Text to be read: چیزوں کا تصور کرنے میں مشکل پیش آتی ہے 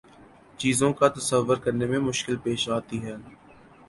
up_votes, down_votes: 2, 0